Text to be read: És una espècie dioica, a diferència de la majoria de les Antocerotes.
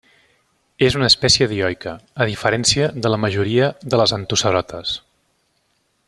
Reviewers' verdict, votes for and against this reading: accepted, 2, 0